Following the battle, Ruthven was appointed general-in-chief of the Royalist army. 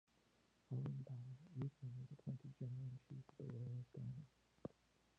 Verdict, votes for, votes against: rejected, 1, 2